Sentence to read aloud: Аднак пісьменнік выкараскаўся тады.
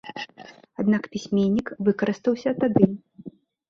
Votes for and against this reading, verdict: 1, 2, rejected